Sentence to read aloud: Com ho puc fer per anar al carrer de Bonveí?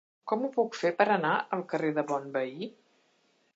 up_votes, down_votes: 3, 0